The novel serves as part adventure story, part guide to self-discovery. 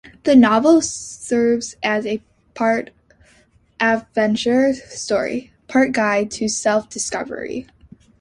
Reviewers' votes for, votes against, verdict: 1, 2, rejected